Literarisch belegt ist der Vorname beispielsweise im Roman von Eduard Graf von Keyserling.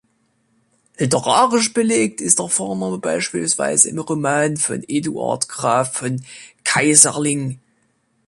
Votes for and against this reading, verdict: 1, 2, rejected